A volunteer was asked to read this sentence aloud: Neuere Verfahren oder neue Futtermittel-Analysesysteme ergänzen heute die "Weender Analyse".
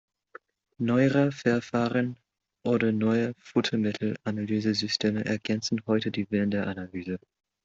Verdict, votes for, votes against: rejected, 0, 2